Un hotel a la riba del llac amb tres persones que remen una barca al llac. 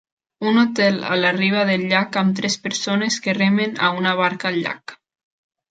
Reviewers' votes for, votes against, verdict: 0, 2, rejected